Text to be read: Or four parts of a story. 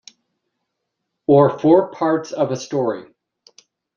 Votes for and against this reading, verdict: 2, 0, accepted